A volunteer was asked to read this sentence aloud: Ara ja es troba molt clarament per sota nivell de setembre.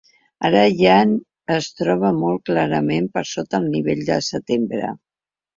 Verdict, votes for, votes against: rejected, 0, 2